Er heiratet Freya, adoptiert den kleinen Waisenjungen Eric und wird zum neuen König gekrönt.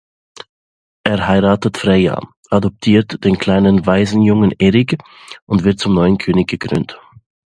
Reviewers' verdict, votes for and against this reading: accepted, 2, 0